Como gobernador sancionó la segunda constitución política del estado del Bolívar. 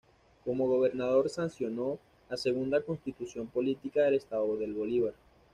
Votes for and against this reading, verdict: 2, 0, accepted